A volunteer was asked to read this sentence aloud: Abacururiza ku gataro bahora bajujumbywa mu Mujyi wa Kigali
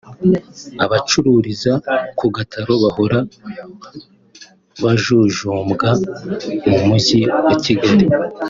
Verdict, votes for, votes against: rejected, 1, 3